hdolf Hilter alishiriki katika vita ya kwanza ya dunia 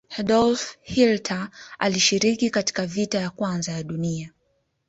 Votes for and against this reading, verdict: 0, 2, rejected